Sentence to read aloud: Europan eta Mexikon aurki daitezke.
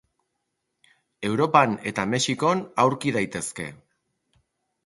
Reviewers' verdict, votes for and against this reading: accepted, 2, 0